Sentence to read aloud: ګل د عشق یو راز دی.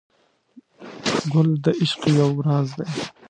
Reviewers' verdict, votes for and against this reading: rejected, 1, 2